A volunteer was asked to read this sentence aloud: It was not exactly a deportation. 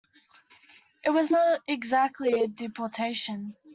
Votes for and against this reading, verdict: 2, 0, accepted